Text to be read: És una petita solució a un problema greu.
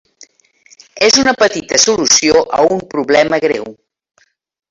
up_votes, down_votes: 1, 2